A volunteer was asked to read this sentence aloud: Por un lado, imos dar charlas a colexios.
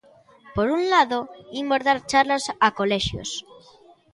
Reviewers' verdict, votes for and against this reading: accepted, 2, 0